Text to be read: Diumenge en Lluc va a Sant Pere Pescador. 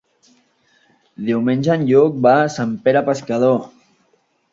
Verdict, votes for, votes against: accepted, 4, 0